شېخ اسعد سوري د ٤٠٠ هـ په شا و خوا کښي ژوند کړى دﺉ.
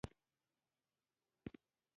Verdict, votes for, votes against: rejected, 0, 2